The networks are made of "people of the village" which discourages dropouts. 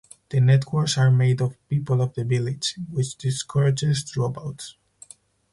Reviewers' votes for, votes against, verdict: 4, 0, accepted